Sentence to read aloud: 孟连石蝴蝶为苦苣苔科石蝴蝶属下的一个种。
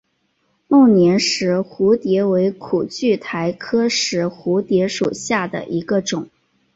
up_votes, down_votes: 0, 2